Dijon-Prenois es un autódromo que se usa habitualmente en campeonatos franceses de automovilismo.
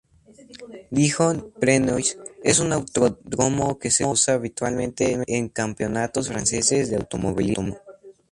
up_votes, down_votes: 2, 0